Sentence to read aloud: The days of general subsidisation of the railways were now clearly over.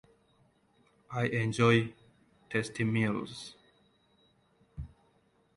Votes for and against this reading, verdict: 0, 2, rejected